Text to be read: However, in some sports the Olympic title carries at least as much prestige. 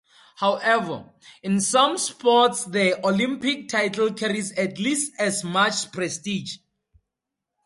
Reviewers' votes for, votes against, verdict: 4, 0, accepted